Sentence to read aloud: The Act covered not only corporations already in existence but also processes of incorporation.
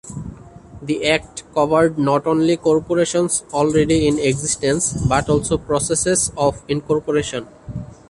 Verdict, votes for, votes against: accepted, 2, 1